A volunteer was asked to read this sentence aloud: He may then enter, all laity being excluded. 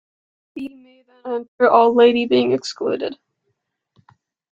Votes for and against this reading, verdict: 0, 2, rejected